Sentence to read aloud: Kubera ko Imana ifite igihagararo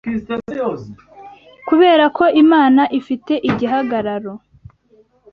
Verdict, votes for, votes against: accepted, 2, 1